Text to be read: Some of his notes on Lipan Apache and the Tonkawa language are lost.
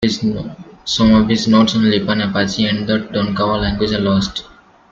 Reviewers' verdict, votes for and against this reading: rejected, 0, 2